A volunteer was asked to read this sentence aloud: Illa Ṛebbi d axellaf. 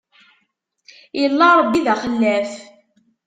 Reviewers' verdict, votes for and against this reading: accepted, 2, 0